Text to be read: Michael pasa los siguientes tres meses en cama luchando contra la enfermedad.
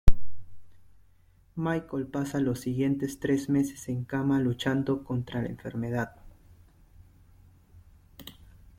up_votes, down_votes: 2, 0